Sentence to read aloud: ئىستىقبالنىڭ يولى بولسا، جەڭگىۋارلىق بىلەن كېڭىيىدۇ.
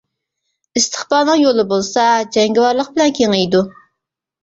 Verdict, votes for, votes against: accepted, 2, 0